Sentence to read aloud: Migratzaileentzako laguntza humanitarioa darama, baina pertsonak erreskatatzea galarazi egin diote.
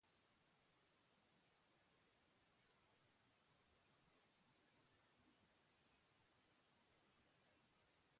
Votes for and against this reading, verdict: 0, 4, rejected